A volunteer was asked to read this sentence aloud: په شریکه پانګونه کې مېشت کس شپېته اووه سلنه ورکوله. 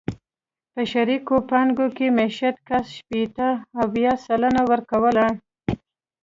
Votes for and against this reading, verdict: 1, 2, rejected